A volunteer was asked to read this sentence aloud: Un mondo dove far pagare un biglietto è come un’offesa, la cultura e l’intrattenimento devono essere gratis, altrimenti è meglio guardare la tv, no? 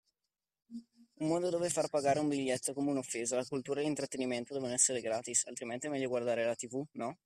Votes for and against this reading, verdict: 2, 0, accepted